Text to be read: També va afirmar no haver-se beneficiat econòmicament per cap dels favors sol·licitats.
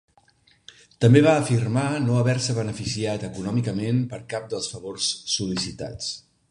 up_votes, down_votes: 2, 0